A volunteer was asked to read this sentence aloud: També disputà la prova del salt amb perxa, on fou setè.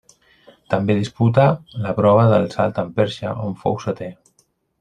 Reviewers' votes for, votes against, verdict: 0, 2, rejected